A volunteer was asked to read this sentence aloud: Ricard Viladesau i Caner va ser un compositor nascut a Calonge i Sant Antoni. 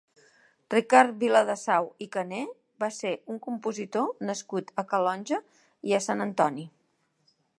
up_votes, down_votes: 2, 0